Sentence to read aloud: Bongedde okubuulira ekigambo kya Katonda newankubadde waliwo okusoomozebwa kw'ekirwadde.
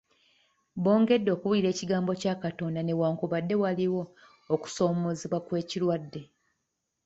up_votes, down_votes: 2, 0